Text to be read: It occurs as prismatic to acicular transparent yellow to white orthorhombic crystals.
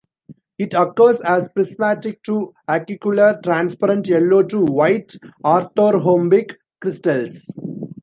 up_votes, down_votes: 2, 0